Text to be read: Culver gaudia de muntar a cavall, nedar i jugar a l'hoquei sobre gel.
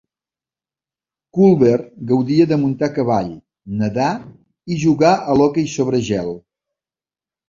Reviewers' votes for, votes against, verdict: 2, 0, accepted